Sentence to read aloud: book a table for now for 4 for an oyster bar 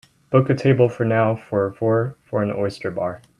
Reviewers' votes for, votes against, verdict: 0, 2, rejected